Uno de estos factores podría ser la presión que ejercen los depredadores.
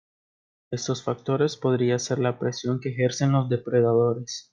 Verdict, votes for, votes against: rejected, 0, 2